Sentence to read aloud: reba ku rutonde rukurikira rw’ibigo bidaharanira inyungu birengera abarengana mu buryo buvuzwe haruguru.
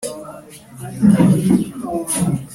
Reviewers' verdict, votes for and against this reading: rejected, 0, 2